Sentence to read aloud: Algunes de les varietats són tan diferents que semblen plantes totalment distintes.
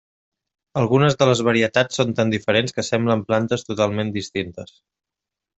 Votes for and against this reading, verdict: 3, 0, accepted